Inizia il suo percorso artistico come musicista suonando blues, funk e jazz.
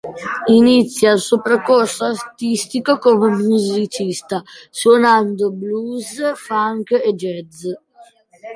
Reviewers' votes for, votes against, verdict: 2, 0, accepted